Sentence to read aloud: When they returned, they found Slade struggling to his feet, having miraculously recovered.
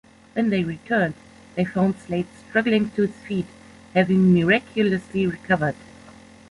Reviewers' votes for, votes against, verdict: 3, 0, accepted